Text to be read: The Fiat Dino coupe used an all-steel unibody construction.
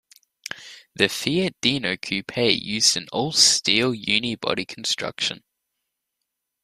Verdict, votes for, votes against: accepted, 2, 0